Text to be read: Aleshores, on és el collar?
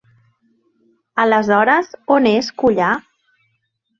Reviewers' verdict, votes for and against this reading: rejected, 0, 2